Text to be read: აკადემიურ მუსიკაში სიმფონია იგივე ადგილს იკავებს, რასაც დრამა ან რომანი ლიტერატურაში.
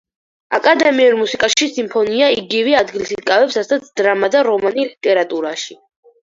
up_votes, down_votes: 0, 4